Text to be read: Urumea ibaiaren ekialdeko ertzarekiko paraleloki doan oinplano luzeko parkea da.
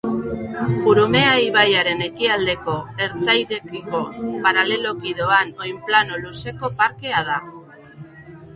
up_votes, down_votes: 0, 2